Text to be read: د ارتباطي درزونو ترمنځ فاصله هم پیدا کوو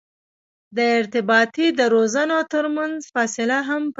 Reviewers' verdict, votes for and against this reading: accepted, 2, 0